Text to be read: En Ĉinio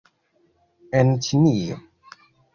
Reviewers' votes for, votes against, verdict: 2, 0, accepted